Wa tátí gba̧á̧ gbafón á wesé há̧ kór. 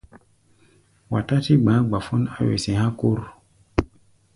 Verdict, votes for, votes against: accepted, 2, 0